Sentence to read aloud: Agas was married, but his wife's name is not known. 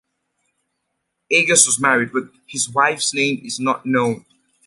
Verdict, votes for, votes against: accepted, 2, 0